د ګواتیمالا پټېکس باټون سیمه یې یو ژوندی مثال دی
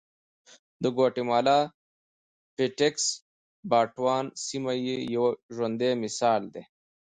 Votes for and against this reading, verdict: 2, 0, accepted